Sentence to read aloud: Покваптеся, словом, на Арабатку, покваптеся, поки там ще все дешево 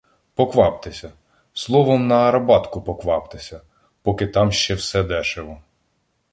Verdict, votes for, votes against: accepted, 2, 0